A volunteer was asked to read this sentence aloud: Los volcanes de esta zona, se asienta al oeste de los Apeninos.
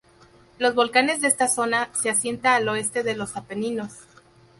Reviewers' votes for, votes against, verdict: 0, 2, rejected